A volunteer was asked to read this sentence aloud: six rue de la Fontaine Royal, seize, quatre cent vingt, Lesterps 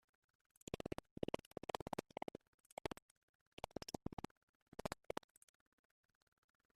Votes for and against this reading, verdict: 0, 2, rejected